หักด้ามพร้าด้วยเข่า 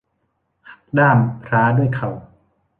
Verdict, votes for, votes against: rejected, 0, 2